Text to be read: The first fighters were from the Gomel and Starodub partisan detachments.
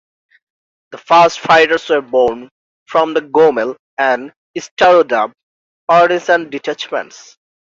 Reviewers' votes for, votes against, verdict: 1, 2, rejected